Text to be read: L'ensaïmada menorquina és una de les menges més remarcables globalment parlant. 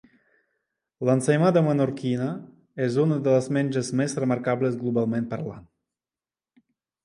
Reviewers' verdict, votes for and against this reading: accepted, 2, 0